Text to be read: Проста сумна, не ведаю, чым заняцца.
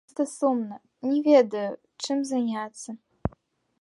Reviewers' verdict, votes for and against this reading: rejected, 1, 2